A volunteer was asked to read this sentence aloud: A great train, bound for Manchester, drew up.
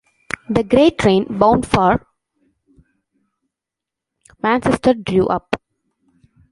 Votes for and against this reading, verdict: 0, 2, rejected